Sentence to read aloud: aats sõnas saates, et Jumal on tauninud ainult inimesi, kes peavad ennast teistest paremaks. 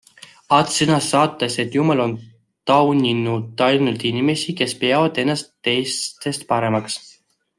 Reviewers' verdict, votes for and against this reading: accepted, 2, 1